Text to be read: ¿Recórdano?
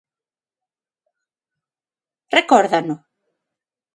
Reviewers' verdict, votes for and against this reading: accepted, 6, 0